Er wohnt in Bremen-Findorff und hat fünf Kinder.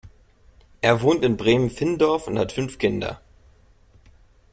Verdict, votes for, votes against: accepted, 2, 0